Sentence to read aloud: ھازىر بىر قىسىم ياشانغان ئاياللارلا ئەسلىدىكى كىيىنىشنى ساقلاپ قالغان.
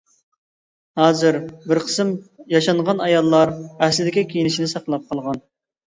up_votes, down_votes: 1, 2